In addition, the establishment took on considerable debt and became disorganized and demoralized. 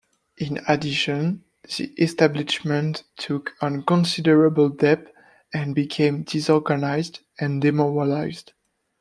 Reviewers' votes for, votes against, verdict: 2, 0, accepted